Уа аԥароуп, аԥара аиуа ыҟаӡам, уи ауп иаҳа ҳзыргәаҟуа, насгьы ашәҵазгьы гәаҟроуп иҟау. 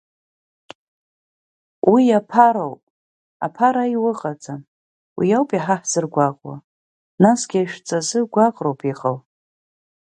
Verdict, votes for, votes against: rejected, 1, 2